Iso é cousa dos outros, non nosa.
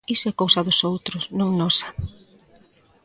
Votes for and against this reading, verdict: 0, 2, rejected